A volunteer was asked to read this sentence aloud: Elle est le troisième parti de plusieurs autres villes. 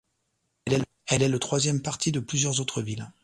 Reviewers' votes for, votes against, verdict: 0, 2, rejected